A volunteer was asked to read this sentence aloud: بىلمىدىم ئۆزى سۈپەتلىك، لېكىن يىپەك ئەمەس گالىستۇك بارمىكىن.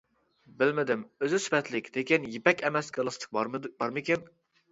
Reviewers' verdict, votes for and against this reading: rejected, 0, 2